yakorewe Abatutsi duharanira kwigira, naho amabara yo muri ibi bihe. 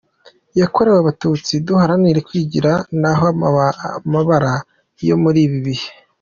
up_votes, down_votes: 0, 3